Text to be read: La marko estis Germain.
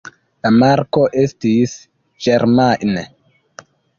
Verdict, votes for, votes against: rejected, 1, 2